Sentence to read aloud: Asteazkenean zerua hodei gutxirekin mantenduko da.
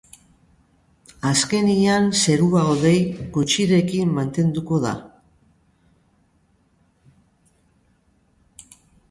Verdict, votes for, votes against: rejected, 0, 2